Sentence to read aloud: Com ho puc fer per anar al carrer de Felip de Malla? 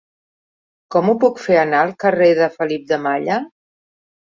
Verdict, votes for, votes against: rejected, 0, 2